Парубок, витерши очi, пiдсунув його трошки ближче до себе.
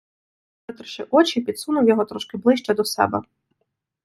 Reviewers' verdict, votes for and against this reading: rejected, 0, 2